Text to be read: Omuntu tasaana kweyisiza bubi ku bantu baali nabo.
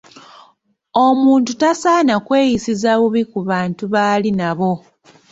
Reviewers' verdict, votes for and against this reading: accepted, 2, 0